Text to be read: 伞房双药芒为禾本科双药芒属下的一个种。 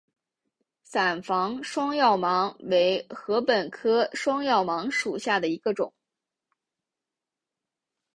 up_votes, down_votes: 2, 0